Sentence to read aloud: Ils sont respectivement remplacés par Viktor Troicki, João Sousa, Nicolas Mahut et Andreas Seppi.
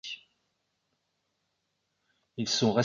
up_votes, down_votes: 0, 2